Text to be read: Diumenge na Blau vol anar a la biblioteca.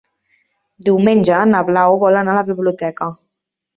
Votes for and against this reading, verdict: 3, 0, accepted